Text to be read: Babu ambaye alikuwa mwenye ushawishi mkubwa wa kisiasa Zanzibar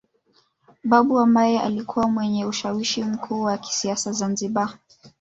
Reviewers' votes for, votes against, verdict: 1, 2, rejected